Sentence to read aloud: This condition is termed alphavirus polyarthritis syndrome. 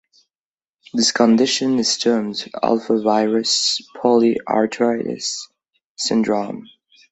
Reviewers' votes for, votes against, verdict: 2, 1, accepted